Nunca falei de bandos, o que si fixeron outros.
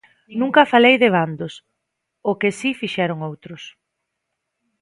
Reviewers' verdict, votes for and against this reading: accepted, 2, 0